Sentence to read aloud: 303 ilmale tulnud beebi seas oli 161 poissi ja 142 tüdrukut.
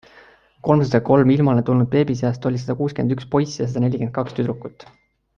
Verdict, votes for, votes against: rejected, 0, 2